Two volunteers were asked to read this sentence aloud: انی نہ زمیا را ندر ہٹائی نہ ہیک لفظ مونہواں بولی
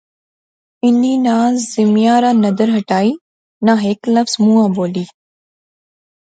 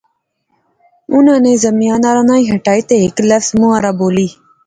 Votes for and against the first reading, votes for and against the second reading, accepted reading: 2, 0, 1, 2, first